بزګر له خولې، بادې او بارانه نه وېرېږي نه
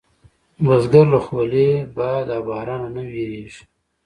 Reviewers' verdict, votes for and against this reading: accepted, 2, 0